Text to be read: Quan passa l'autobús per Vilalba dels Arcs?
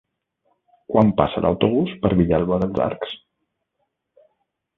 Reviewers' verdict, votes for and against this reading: accepted, 2, 1